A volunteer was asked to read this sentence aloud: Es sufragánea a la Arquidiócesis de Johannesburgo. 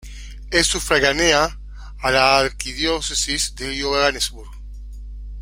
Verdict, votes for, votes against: rejected, 1, 2